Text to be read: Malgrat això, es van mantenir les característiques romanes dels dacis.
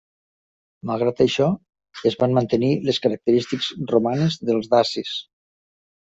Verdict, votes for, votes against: rejected, 1, 2